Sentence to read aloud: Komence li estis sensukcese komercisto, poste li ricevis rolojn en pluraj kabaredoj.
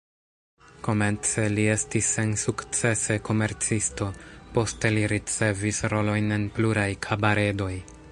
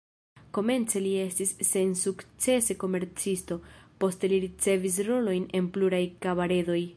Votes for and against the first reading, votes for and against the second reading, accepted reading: 2, 1, 1, 2, first